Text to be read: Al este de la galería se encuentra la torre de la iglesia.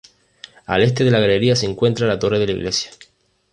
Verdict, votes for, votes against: accepted, 2, 0